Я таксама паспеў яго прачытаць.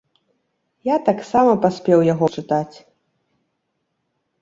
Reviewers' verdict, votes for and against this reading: rejected, 0, 2